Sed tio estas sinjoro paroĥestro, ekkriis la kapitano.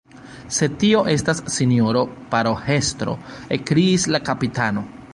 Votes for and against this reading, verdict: 1, 3, rejected